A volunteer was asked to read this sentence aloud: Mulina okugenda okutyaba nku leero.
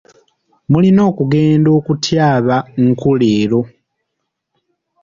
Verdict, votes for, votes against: accepted, 2, 0